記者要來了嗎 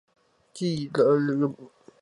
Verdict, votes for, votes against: rejected, 0, 2